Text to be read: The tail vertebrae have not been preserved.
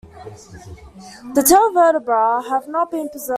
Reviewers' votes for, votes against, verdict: 1, 2, rejected